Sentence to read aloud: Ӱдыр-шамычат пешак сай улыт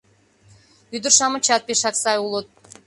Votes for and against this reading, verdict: 2, 0, accepted